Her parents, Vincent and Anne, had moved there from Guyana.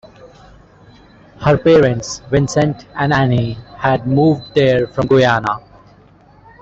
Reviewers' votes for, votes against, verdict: 1, 2, rejected